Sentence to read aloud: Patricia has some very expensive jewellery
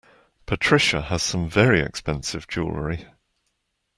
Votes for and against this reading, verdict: 2, 0, accepted